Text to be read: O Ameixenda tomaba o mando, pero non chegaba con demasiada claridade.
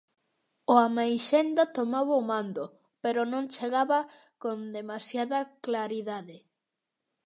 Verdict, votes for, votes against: accepted, 2, 0